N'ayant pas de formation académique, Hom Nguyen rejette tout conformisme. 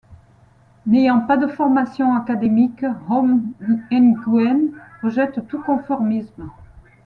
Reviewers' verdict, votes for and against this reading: rejected, 1, 2